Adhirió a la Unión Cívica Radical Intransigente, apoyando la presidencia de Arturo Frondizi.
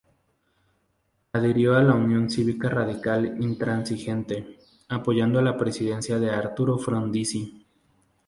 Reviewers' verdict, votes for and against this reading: accepted, 2, 0